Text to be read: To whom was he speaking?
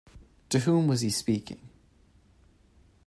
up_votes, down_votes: 2, 0